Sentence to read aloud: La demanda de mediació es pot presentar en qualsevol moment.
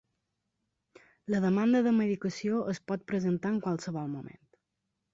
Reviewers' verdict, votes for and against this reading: rejected, 1, 2